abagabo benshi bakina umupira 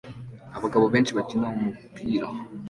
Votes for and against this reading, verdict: 2, 0, accepted